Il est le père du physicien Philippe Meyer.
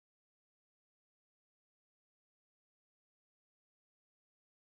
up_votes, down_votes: 0, 2